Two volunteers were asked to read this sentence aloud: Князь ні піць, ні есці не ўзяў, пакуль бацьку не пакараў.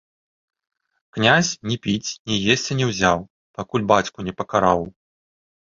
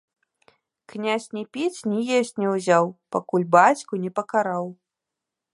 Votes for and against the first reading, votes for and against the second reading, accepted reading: 2, 0, 1, 2, first